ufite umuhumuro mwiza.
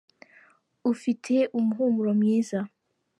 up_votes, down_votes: 2, 0